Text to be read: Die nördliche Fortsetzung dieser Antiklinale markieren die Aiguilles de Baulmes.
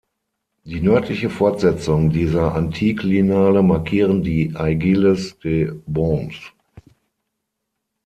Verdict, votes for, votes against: rejected, 3, 6